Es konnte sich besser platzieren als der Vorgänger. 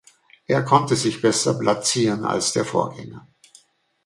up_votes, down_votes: 0, 2